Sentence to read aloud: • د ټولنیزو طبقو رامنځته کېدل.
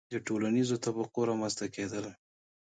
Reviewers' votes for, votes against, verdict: 2, 1, accepted